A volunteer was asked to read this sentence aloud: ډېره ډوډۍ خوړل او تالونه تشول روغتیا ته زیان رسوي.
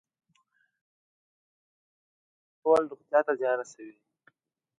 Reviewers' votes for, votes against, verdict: 0, 2, rejected